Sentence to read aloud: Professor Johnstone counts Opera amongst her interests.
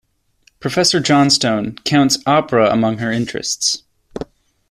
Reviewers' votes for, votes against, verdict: 2, 0, accepted